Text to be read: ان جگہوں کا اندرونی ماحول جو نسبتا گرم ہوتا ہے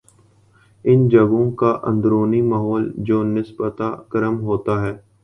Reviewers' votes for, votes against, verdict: 0, 2, rejected